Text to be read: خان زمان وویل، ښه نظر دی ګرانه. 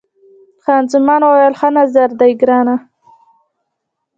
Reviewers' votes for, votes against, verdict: 0, 2, rejected